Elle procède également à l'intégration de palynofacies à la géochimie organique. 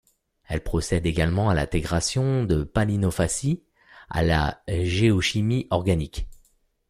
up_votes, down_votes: 2, 0